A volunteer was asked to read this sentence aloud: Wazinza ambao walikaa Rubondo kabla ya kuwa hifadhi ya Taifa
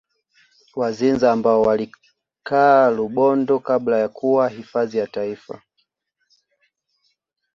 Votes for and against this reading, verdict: 2, 1, accepted